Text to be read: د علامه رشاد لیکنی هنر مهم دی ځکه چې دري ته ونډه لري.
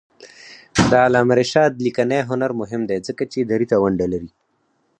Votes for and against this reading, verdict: 4, 2, accepted